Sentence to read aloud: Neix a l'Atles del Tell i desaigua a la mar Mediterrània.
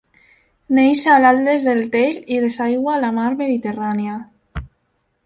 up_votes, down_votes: 2, 1